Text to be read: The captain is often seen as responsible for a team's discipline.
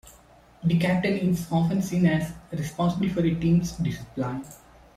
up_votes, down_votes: 1, 2